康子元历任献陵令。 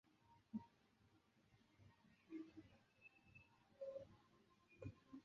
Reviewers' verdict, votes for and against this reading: rejected, 0, 5